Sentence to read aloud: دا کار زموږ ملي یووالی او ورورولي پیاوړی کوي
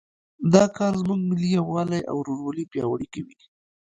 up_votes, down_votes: 1, 2